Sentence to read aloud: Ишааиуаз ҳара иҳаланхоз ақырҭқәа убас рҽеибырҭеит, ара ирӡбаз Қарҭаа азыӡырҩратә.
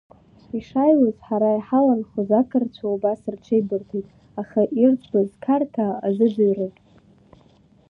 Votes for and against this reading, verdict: 2, 1, accepted